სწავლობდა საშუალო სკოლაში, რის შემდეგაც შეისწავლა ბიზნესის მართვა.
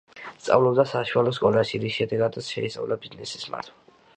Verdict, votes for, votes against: rejected, 0, 2